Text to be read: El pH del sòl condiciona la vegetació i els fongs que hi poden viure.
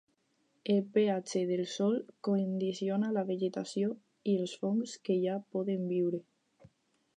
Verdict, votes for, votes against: rejected, 2, 4